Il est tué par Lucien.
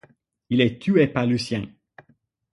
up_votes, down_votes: 6, 0